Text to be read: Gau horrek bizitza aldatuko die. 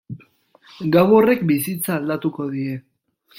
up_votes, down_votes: 2, 0